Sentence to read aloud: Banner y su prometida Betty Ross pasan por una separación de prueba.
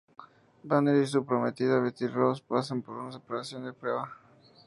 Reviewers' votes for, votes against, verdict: 2, 0, accepted